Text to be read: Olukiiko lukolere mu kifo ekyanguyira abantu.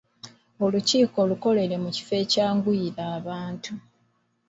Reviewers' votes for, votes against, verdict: 2, 1, accepted